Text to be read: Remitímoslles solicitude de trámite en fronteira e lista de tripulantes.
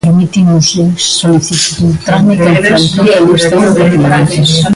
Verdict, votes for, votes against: rejected, 0, 2